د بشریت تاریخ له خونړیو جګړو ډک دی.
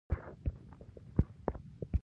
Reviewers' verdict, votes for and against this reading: rejected, 1, 2